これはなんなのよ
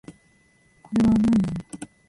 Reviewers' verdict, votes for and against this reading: rejected, 0, 2